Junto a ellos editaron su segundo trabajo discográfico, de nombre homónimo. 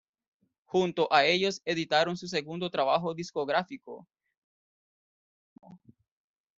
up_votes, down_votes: 0, 2